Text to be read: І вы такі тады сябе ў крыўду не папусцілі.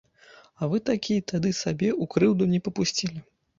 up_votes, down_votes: 0, 2